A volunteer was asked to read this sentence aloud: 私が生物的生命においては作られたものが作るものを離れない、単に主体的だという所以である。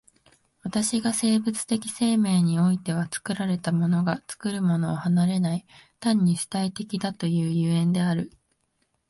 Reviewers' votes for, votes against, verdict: 2, 0, accepted